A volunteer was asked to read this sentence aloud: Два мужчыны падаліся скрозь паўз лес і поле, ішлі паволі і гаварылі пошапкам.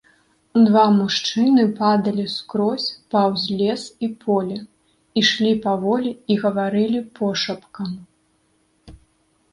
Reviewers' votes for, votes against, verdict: 0, 2, rejected